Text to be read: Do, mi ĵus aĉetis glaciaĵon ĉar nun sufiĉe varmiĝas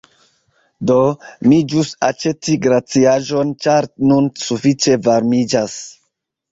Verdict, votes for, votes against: accepted, 2, 0